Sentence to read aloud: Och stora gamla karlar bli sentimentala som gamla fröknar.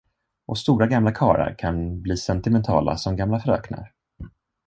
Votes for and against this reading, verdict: 0, 2, rejected